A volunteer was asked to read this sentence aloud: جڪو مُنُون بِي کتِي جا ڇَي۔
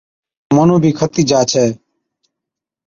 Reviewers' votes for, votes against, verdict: 2, 0, accepted